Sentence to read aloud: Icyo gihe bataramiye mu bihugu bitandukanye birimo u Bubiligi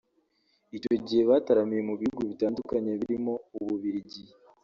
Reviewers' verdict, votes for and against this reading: rejected, 0, 2